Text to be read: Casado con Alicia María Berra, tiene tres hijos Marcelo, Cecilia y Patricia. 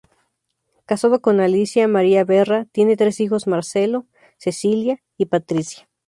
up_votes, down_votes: 2, 0